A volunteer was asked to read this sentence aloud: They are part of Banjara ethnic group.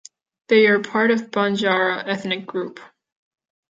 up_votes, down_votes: 2, 0